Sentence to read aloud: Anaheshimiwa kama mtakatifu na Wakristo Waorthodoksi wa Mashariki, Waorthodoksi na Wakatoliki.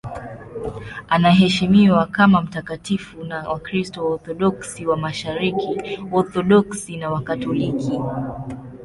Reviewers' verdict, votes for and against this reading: accepted, 2, 0